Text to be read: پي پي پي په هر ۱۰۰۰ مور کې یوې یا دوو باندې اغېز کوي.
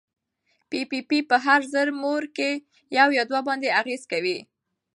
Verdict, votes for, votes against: rejected, 0, 2